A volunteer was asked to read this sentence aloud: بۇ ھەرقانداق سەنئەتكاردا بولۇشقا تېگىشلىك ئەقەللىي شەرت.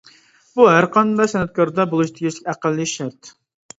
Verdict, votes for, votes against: rejected, 1, 2